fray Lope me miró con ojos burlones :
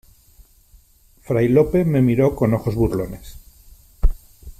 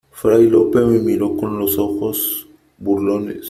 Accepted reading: first